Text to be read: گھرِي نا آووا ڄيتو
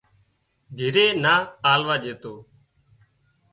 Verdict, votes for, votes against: rejected, 0, 2